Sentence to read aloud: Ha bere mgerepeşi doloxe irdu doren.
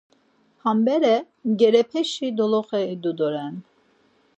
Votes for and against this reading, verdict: 0, 4, rejected